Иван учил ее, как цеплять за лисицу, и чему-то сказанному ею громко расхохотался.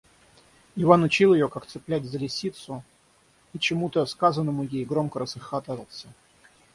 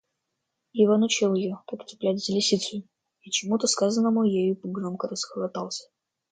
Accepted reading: first